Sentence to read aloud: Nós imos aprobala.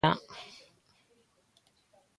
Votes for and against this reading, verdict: 0, 2, rejected